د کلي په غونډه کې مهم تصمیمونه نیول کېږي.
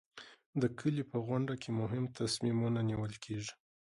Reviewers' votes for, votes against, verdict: 2, 0, accepted